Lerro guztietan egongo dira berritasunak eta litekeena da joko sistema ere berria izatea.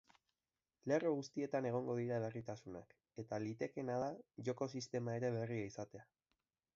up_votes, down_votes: 0, 3